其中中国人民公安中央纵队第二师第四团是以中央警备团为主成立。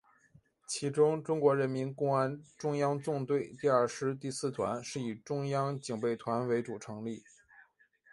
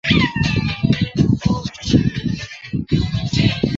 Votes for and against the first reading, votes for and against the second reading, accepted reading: 2, 0, 0, 3, first